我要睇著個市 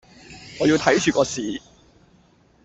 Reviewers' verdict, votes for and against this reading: rejected, 0, 2